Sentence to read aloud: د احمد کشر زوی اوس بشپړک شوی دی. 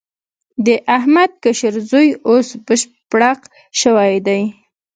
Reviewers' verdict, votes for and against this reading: accepted, 2, 0